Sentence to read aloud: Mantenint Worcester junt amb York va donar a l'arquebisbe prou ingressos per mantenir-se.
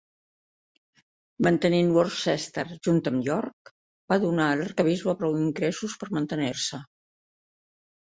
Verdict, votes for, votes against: accepted, 3, 0